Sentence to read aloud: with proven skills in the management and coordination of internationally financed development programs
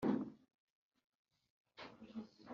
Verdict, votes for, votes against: rejected, 1, 2